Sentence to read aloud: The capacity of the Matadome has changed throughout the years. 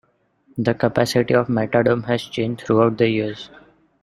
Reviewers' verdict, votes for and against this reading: rejected, 0, 2